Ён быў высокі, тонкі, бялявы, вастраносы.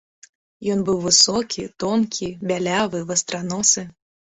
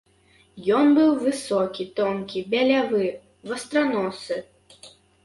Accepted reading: first